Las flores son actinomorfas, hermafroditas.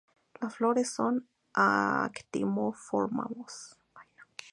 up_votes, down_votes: 0, 4